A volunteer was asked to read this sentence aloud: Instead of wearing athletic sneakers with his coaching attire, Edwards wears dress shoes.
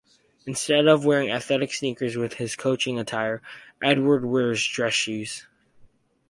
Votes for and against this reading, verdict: 2, 0, accepted